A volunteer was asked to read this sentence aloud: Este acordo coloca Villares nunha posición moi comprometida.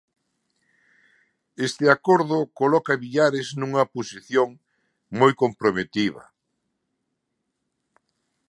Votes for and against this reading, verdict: 1, 2, rejected